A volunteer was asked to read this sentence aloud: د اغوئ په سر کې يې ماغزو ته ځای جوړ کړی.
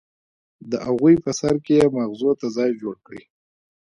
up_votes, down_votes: 1, 2